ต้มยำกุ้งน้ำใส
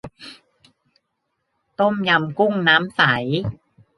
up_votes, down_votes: 2, 0